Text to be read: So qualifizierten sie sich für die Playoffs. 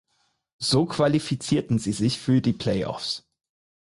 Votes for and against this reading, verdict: 4, 0, accepted